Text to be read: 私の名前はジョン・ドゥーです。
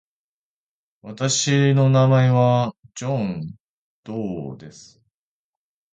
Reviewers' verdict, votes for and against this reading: rejected, 1, 2